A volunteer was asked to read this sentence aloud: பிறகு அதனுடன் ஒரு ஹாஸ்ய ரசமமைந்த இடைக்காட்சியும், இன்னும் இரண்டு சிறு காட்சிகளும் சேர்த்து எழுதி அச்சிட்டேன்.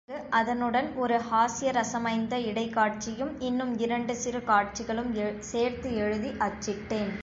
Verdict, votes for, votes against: rejected, 0, 2